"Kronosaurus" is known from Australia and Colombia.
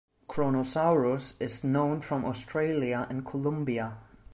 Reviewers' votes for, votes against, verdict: 2, 0, accepted